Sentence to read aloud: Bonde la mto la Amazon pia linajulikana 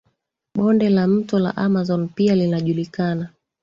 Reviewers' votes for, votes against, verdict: 0, 2, rejected